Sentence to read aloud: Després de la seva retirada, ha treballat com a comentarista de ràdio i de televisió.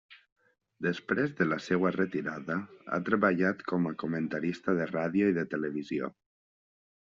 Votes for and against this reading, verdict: 0, 2, rejected